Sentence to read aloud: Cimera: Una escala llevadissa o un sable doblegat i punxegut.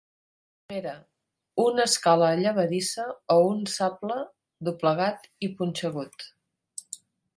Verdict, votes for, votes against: rejected, 1, 2